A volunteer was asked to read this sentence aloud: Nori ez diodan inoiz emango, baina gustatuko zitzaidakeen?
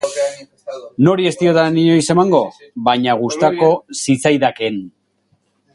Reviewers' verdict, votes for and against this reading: rejected, 0, 4